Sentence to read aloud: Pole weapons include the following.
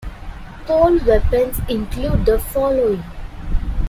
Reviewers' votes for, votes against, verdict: 2, 0, accepted